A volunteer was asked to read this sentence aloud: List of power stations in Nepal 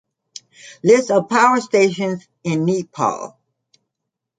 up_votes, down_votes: 2, 0